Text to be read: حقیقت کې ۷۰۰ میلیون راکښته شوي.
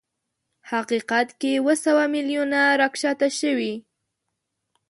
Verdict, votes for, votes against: rejected, 0, 2